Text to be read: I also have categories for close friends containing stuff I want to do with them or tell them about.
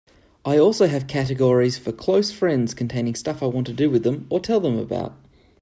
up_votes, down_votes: 3, 0